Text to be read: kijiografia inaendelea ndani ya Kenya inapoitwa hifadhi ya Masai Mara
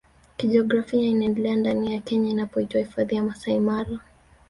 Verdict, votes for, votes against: accepted, 2, 0